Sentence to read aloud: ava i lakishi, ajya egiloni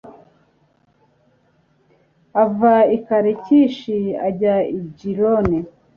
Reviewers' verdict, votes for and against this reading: rejected, 1, 2